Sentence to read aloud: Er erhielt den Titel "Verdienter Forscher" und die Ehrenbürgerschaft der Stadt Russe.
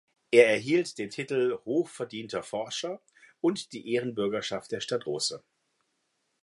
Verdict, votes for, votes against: rejected, 0, 2